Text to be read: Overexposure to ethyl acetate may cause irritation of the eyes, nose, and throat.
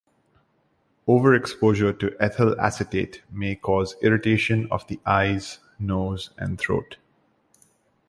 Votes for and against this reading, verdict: 2, 0, accepted